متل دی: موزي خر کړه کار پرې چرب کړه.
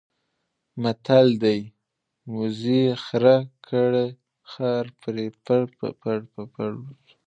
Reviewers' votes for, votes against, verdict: 1, 2, rejected